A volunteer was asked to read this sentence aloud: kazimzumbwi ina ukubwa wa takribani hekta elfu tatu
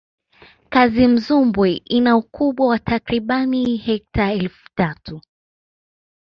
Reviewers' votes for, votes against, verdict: 2, 1, accepted